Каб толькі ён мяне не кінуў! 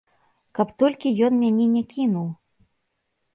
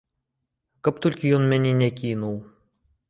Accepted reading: second